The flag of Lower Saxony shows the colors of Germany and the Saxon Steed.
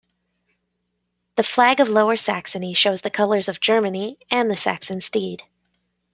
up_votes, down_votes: 2, 0